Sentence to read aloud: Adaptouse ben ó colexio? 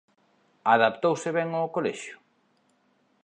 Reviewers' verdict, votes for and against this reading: accepted, 2, 0